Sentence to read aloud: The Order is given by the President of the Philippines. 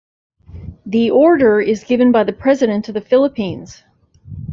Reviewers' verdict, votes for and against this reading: accepted, 2, 0